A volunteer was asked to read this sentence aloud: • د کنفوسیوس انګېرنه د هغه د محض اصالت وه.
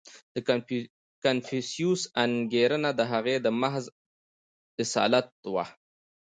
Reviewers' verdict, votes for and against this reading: accepted, 3, 0